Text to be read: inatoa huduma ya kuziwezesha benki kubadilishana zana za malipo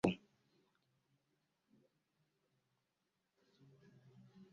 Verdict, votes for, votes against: rejected, 0, 2